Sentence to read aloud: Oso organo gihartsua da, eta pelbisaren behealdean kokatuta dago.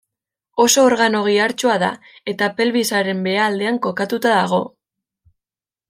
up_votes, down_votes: 2, 0